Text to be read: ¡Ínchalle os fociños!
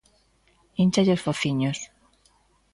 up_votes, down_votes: 2, 0